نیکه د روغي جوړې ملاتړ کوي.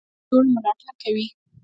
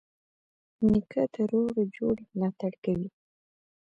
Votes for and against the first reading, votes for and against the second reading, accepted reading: 1, 2, 2, 0, second